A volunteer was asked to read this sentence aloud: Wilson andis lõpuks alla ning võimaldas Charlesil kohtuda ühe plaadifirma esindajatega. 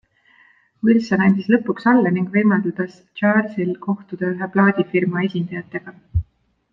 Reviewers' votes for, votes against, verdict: 0, 2, rejected